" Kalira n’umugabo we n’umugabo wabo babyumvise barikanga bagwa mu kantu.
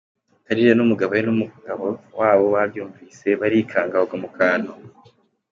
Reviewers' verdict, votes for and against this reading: accepted, 3, 0